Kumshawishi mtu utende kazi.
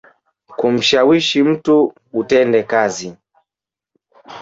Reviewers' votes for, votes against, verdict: 2, 1, accepted